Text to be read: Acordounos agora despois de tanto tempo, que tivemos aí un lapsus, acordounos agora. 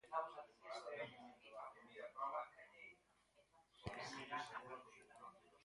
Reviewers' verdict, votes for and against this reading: rejected, 0, 4